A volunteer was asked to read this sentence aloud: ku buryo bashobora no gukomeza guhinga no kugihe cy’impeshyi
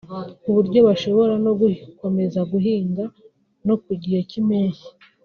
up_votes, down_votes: 0, 2